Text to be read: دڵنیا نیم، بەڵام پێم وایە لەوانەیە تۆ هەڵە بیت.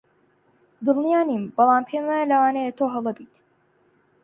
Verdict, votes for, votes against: accepted, 4, 0